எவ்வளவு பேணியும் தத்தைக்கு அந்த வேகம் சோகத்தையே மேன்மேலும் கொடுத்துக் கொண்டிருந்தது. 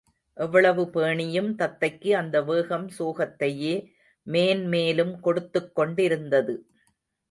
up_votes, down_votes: 2, 0